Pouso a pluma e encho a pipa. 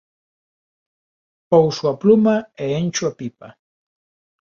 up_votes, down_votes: 3, 0